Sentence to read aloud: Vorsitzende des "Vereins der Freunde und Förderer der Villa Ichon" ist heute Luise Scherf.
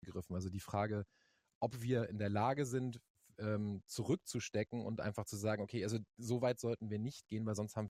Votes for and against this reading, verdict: 0, 2, rejected